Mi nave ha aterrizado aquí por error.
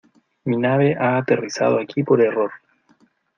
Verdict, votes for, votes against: accepted, 2, 0